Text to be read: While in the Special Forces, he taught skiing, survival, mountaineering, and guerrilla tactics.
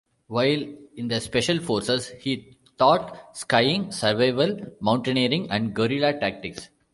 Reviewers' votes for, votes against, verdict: 1, 2, rejected